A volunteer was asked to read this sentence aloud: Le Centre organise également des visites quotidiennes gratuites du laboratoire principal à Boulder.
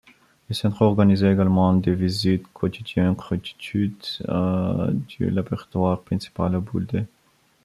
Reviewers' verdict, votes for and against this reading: rejected, 0, 2